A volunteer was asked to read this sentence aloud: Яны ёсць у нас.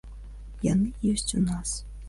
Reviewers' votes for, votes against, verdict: 2, 0, accepted